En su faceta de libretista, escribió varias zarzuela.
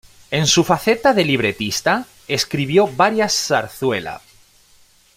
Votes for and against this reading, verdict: 2, 0, accepted